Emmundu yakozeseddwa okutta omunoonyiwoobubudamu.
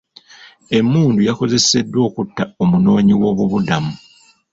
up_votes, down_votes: 2, 0